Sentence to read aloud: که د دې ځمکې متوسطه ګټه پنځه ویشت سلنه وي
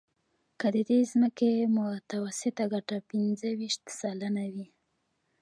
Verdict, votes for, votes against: accepted, 2, 1